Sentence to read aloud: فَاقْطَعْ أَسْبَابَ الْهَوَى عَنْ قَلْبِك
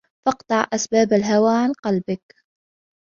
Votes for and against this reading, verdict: 2, 0, accepted